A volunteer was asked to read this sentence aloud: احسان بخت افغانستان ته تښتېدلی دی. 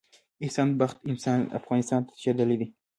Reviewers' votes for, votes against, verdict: 0, 2, rejected